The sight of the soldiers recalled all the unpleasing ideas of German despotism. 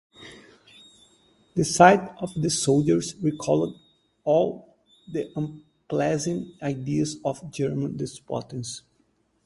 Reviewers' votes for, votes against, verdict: 0, 4, rejected